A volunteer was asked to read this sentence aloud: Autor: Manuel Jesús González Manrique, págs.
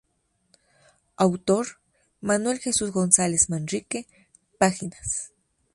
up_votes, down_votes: 0, 2